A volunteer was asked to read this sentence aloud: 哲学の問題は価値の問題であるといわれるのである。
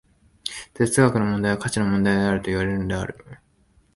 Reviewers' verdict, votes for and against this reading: accepted, 2, 0